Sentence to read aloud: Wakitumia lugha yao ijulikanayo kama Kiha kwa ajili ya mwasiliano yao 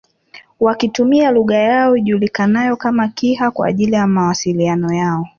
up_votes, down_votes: 1, 2